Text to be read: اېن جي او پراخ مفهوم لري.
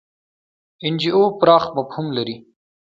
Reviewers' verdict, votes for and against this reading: rejected, 1, 2